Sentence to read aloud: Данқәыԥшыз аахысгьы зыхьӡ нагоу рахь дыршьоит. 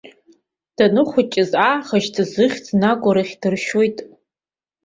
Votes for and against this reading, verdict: 0, 2, rejected